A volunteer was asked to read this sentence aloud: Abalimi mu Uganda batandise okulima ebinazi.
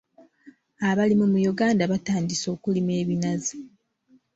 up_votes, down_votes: 2, 0